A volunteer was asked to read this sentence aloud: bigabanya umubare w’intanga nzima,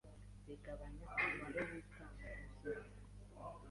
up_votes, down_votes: 2, 1